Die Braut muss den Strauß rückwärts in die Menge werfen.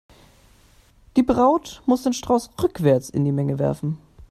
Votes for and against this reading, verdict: 2, 0, accepted